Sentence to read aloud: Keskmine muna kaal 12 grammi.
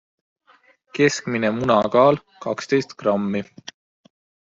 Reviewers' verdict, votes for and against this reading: rejected, 0, 2